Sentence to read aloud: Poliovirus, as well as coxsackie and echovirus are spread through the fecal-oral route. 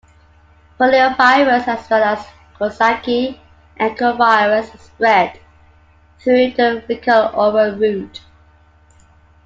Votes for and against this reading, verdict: 0, 2, rejected